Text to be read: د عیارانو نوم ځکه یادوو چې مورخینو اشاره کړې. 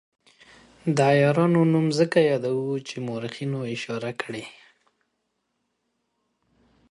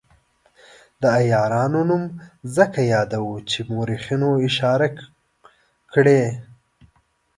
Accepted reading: first